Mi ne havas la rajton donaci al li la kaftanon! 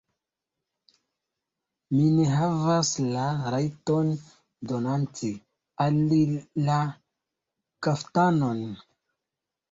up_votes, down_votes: 0, 2